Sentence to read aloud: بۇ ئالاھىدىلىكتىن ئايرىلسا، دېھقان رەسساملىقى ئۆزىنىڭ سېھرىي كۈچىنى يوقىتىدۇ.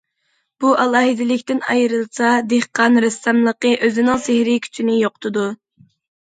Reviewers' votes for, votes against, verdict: 2, 0, accepted